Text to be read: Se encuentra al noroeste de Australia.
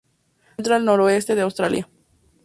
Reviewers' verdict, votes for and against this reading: accepted, 2, 0